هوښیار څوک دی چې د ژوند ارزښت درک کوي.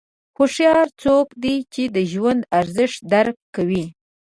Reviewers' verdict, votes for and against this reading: accepted, 2, 0